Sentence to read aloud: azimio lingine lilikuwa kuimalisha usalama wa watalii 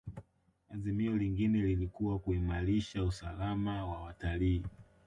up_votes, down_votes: 0, 2